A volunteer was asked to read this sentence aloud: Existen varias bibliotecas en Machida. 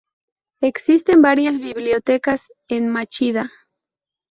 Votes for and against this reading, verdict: 4, 0, accepted